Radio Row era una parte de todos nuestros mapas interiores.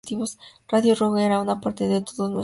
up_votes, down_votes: 0, 2